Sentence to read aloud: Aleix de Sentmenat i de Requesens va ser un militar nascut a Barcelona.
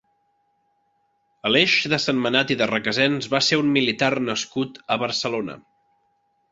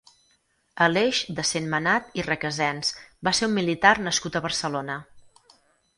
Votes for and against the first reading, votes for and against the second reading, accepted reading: 3, 0, 2, 4, first